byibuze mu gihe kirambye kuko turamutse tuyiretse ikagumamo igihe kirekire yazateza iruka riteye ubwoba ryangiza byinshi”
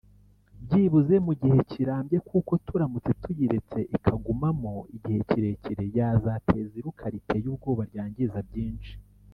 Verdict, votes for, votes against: rejected, 1, 2